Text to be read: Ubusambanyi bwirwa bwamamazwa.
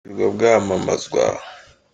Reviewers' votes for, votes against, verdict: 0, 2, rejected